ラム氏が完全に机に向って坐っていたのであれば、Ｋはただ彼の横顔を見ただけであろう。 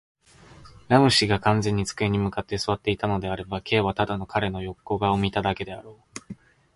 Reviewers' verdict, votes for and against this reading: accepted, 2, 0